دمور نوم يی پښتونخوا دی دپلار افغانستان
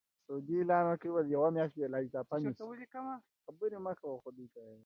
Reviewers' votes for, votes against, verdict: 0, 2, rejected